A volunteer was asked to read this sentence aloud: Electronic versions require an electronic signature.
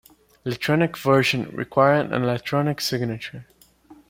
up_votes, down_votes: 2, 0